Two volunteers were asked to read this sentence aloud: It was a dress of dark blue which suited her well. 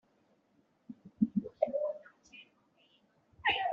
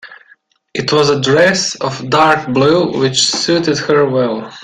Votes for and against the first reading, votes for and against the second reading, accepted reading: 0, 3, 2, 1, second